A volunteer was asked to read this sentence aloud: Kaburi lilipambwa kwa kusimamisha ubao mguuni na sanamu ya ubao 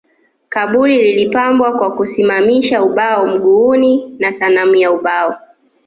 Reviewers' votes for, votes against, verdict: 2, 1, accepted